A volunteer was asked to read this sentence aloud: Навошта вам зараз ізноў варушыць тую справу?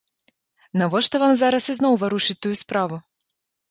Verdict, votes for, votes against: accepted, 2, 0